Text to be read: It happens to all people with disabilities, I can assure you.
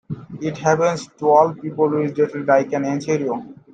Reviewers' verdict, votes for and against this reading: rejected, 0, 2